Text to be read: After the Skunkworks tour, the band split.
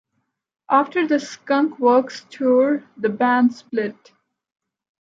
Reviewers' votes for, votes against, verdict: 2, 0, accepted